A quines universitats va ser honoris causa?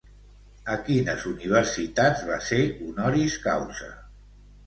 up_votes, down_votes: 1, 2